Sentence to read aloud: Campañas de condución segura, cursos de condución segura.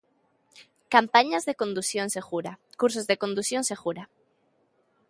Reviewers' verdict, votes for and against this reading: accepted, 2, 0